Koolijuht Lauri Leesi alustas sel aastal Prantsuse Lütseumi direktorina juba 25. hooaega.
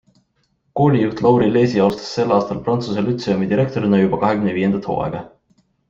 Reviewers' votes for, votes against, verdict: 0, 2, rejected